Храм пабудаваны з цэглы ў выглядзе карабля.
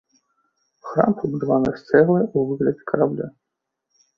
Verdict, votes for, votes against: accepted, 3, 1